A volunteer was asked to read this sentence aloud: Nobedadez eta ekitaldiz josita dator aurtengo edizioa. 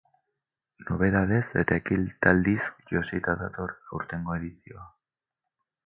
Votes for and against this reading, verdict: 10, 4, accepted